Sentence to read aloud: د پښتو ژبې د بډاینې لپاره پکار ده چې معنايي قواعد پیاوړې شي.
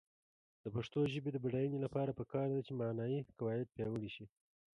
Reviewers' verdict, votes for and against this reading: accepted, 2, 1